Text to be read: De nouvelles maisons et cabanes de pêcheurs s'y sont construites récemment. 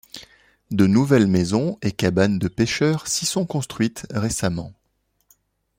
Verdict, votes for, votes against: accepted, 2, 0